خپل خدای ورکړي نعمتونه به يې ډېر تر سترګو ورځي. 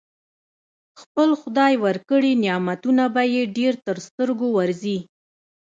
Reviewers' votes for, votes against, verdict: 2, 1, accepted